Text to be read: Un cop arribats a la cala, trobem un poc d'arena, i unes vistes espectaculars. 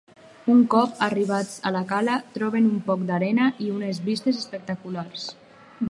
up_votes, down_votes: 4, 0